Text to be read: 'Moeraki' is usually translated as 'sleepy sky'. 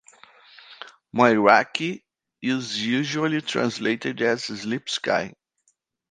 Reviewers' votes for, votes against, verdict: 1, 2, rejected